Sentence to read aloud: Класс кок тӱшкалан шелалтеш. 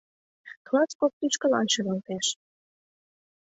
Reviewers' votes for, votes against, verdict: 2, 0, accepted